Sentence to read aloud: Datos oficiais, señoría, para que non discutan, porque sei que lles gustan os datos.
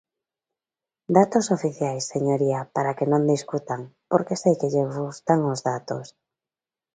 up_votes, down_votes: 2, 0